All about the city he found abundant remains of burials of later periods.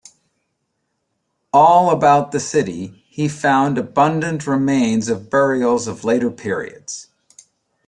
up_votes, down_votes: 2, 0